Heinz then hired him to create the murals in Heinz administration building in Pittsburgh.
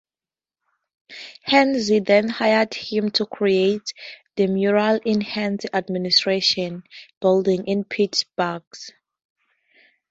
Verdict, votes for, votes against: accepted, 2, 0